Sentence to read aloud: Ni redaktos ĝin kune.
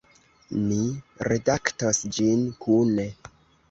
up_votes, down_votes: 0, 2